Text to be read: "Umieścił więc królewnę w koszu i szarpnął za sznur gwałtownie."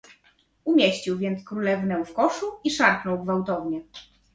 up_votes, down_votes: 0, 2